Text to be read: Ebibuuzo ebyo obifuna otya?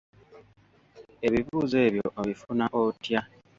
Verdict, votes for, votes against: accepted, 2, 0